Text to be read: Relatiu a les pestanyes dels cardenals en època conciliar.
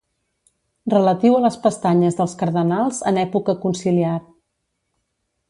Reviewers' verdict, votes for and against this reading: accepted, 2, 1